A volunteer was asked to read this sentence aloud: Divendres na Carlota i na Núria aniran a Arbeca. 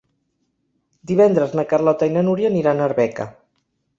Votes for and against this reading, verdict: 3, 0, accepted